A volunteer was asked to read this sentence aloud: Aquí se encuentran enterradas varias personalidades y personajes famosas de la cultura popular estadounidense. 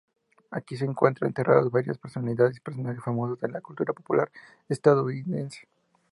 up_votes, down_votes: 2, 0